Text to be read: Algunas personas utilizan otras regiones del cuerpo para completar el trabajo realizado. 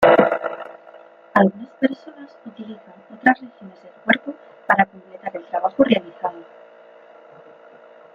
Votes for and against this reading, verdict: 0, 2, rejected